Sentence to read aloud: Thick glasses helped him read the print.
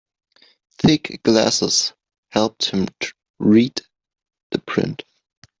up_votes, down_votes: 0, 2